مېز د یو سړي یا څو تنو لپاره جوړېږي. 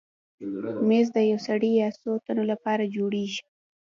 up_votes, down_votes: 1, 2